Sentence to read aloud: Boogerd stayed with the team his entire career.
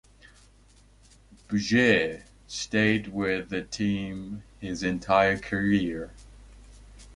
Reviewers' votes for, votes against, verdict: 2, 0, accepted